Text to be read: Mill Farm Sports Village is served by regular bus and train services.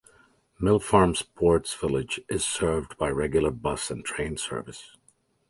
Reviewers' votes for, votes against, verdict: 1, 2, rejected